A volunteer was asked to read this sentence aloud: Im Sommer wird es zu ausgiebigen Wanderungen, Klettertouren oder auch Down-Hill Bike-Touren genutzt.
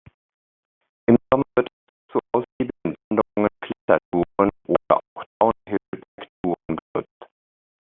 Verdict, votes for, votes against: rejected, 0, 2